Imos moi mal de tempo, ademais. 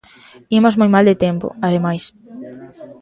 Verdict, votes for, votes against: accepted, 2, 0